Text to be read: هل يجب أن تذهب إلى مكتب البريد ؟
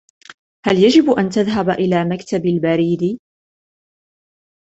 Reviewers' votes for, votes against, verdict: 2, 0, accepted